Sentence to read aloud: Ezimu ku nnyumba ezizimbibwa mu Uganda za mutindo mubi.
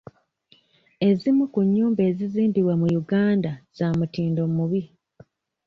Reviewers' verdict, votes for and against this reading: accepted, 2, 0